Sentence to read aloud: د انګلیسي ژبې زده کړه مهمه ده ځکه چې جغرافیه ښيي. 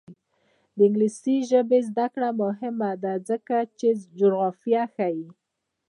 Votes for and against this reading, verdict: 0, 2, rejected